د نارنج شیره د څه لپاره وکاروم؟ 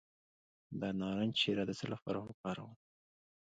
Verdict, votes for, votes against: accepted, 2, 0